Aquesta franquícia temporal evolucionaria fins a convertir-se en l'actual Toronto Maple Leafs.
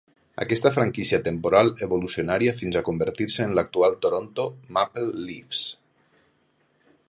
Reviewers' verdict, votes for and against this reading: rejected, 0, 2